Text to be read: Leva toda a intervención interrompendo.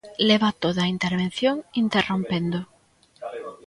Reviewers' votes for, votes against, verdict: 1, 2, rejected